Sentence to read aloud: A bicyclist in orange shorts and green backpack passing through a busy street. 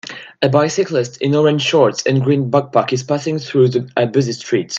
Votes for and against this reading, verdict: 0, 2, rejected